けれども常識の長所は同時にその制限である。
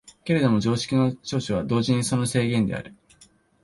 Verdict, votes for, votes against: accepted, 4, 0